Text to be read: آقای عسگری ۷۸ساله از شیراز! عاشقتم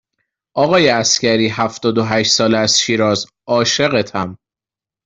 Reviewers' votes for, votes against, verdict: 0, 2, rejected